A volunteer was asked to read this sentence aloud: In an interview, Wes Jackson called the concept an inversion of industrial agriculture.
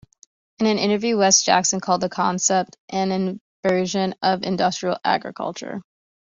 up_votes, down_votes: 2, 0